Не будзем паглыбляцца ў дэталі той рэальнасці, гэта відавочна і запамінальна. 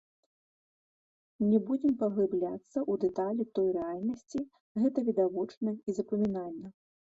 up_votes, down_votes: 2, 0